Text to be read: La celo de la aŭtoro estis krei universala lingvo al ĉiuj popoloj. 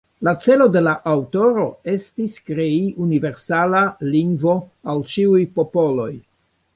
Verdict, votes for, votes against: accepted, 2, 1